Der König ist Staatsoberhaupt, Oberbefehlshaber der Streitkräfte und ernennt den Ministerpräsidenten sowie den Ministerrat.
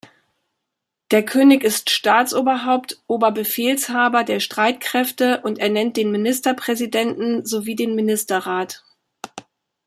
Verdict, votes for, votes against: accepted, 2, 0